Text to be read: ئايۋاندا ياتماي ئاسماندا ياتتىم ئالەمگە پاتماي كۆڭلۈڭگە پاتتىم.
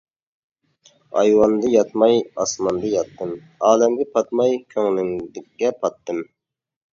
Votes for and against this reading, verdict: 0, 2, rejected